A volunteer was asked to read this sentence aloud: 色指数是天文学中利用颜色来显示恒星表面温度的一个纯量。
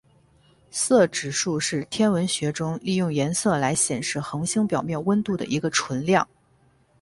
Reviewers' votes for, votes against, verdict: 16, 0, accepted